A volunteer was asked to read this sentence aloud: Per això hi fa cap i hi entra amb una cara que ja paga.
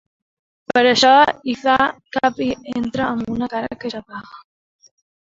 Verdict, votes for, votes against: rejected, 1, 2